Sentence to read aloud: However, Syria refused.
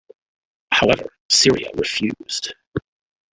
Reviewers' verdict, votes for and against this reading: accepted, 2, 0